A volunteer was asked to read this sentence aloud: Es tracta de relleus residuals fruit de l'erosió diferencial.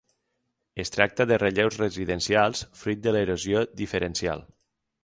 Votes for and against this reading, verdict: 0, 6, rejected